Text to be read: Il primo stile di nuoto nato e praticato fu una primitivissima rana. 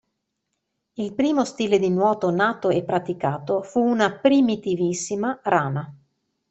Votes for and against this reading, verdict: 2, 0, accepted